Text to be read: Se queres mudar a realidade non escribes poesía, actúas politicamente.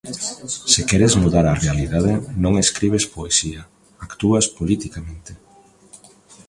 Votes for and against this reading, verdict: 1, 2, rejected